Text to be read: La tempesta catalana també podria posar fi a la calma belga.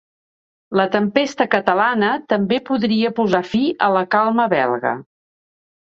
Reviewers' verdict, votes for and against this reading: accepted, 2, 0